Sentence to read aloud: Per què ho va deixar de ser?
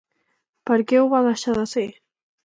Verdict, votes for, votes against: accepted, 2, 0